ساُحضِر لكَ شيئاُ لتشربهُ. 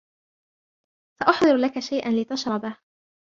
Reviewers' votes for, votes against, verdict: 1, 2, rejected